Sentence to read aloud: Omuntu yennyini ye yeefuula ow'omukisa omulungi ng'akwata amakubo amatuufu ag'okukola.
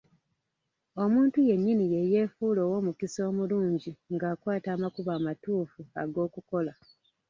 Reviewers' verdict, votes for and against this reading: rejected, 1, 2